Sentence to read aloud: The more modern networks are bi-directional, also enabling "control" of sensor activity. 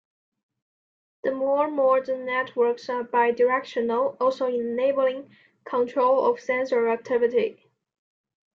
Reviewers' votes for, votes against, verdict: 2, 0, accepted